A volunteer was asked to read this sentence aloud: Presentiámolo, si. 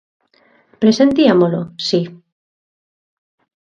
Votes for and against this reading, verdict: 1, 2, rejected